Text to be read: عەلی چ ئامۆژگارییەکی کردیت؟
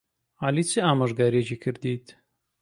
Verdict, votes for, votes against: accepted, 2, 0